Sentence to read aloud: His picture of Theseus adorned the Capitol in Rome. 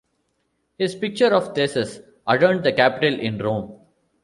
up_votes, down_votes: 2, 0